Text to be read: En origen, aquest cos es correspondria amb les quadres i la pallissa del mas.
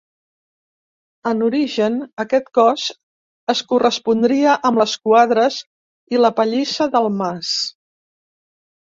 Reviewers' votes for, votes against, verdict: 1, 2, rejected